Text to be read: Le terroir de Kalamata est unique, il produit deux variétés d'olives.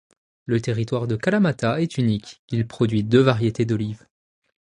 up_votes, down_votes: 0, 2